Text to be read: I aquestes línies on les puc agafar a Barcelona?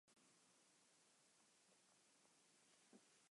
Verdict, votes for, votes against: rejected, 0, 2